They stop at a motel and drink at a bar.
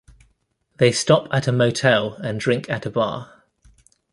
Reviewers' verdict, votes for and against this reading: accepted, 2, 0